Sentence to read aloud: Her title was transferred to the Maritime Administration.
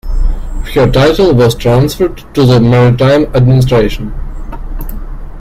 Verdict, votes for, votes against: accepted, 2, 0